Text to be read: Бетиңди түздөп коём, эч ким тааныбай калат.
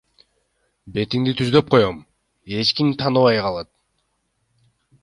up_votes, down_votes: 2, 0